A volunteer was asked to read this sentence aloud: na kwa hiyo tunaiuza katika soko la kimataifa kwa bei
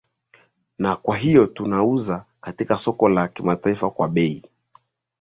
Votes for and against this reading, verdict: 5, 0, accepted